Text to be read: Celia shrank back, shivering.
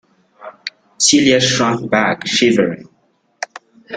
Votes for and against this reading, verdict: 2, 1, accepted